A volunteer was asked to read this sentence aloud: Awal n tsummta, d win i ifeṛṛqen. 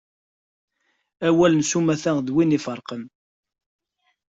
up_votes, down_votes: 2, 1